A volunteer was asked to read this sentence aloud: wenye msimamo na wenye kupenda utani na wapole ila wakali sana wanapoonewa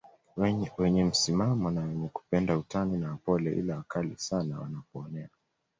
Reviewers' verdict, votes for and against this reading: accepted, 2, 0